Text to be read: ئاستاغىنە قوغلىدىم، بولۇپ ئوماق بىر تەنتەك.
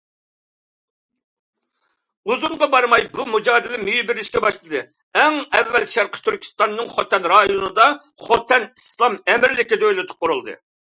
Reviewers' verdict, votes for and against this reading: rejected, 0, 2